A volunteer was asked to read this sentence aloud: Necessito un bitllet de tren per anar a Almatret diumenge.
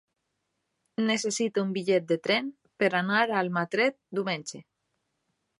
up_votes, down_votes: 3, 0